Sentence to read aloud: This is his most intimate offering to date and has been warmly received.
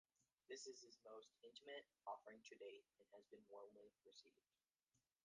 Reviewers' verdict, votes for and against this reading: rejected, 1, 2